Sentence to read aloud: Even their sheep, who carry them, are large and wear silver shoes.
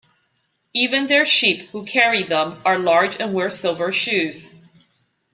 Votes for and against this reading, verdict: 2, 0, accepted